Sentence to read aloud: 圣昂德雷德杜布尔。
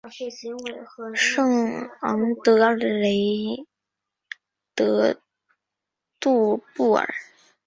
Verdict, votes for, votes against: accepted, 4, 0